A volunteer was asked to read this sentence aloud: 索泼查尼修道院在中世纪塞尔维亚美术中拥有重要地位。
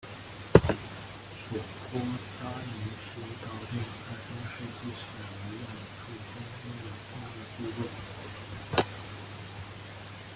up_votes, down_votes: 0, 2